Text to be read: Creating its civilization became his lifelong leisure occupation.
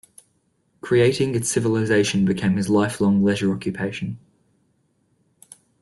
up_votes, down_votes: 2, 0